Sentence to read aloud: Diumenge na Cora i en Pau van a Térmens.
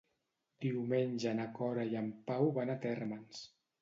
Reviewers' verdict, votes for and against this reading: accepted, 2, 0